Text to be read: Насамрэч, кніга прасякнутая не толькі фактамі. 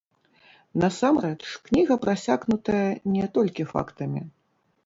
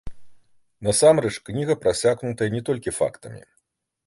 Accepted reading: second